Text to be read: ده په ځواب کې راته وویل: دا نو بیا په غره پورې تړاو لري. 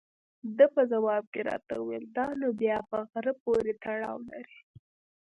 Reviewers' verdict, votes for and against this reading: rejected, 0, 2